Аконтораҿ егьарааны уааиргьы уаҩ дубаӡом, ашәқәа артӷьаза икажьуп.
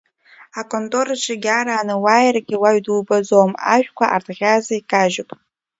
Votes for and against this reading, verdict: 1, 2, rejected